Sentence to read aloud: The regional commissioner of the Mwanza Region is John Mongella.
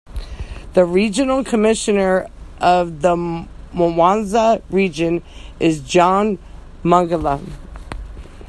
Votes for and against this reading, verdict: 2, 1, accepted